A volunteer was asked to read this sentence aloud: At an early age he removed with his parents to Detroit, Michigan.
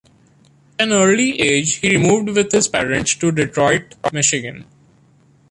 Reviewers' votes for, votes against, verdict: 2, 0, accepted